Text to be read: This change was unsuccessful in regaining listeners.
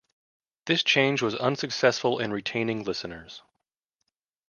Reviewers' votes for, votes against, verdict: 1, 2, rejected